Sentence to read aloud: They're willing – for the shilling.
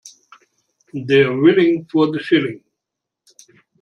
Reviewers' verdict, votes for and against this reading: accepted, 2, 0